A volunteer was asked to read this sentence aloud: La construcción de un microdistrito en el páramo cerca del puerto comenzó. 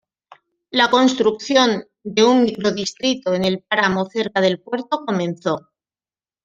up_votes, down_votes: 1, 2